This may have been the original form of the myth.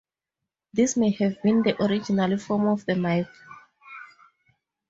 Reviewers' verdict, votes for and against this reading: rejected, 0, 2